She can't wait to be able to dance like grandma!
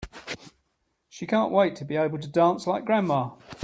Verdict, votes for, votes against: accepted, 3, 0